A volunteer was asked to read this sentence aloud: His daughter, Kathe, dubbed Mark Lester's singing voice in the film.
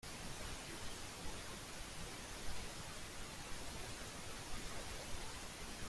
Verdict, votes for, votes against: rejected, 0, 2